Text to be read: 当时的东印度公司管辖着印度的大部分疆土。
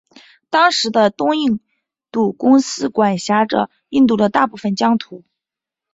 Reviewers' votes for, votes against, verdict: 2, 1, accepted